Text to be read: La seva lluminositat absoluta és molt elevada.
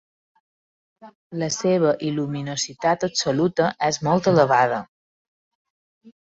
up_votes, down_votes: 0, 2